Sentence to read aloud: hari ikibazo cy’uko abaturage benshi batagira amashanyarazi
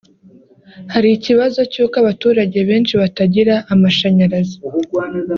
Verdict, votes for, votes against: accepted, 3, 0